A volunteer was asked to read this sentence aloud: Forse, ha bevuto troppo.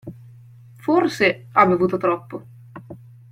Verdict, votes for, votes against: accepted, 2, 0